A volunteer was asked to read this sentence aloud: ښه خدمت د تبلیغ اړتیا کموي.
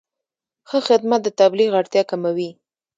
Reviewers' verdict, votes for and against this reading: rejected, 1, 2